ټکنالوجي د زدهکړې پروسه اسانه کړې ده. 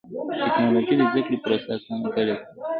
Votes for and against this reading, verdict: 1, 2, rejected